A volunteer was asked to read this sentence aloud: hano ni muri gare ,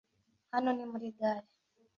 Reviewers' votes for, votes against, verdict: 2, 0, accepted